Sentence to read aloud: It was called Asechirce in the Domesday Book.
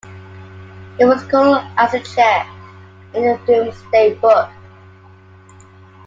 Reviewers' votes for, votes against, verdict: 2, 1, accepted